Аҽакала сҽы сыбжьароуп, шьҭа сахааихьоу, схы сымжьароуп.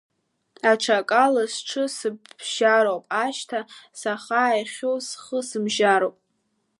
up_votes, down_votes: 0, 2